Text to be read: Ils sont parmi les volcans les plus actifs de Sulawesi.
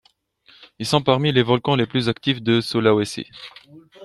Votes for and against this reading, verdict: 2, 0, accepted